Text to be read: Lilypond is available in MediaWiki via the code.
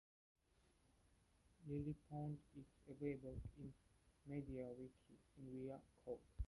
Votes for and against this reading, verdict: 0, 2, rejected